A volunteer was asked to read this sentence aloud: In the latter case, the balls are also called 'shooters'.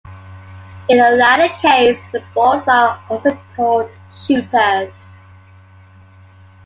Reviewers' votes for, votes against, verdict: 2, 0, accepted